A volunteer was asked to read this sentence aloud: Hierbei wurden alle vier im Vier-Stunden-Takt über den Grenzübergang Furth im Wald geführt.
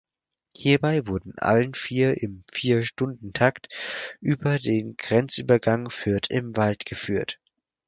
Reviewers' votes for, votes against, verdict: 0, 4, rejected